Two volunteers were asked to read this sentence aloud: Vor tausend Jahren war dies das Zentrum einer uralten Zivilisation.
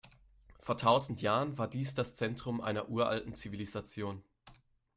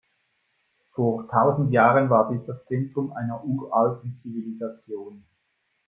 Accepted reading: first